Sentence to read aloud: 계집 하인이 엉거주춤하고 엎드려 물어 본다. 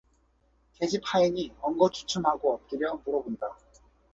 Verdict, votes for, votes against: accepted, 2, 0